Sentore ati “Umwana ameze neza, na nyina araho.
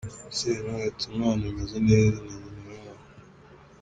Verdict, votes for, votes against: accepted, 2, 0